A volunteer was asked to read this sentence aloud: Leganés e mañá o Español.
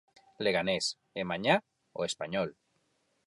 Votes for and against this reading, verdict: 4, 0, accepted